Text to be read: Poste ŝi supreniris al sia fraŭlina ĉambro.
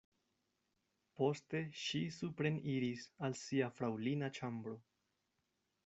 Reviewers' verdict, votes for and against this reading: accepted, 2, 0